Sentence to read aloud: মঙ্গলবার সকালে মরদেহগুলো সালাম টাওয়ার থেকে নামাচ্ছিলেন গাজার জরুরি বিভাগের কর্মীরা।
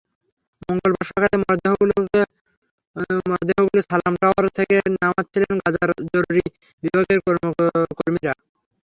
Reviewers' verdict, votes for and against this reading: rejected, 0, 6